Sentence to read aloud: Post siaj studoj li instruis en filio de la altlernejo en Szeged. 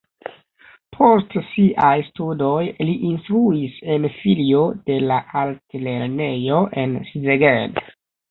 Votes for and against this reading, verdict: 0, 2, rejected